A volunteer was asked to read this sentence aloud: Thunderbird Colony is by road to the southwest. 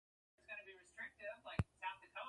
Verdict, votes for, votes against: rejected, 0, 2